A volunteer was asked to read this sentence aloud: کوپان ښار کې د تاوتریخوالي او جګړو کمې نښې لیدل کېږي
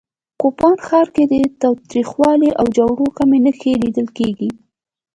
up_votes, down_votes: 2, 0